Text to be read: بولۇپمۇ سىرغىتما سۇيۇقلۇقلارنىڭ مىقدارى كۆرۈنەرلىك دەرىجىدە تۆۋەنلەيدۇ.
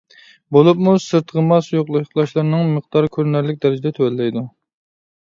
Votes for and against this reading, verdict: 0, 2, rejected